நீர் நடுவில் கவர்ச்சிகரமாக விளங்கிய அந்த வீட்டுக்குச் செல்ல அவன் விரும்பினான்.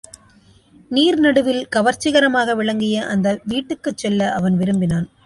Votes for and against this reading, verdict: 2, 0, accepted